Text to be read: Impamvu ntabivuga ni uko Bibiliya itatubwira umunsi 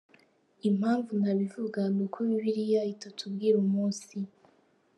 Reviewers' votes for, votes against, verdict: 2, 0, accepted